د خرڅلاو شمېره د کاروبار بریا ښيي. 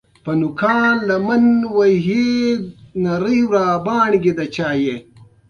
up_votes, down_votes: 2, 0